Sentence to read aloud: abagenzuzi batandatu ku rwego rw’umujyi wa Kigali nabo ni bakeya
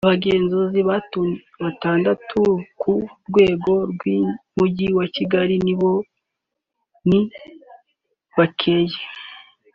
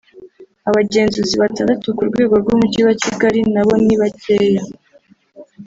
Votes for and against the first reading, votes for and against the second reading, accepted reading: 2, 3, 3, 0, second